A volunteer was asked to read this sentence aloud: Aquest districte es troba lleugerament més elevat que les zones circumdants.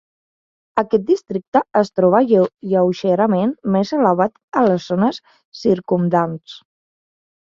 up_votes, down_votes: 0, 2